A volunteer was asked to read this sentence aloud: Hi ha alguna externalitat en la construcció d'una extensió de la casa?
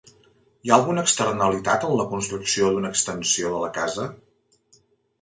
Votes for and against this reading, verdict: 2, 0, accepted